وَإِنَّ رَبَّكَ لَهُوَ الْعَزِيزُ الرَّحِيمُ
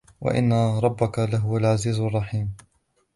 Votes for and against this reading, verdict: 0, 2, rejected